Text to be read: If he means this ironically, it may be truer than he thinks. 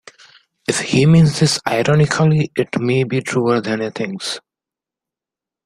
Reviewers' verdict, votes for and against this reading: accepted, 2, 0